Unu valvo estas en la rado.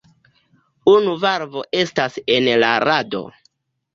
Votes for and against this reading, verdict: 2, 1, accepted